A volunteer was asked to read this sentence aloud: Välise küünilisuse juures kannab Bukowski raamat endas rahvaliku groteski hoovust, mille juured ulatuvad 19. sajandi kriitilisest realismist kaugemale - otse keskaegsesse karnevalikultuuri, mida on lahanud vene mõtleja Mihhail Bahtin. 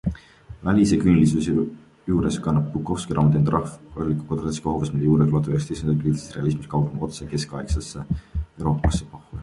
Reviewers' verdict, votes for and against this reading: rejected, 0, 2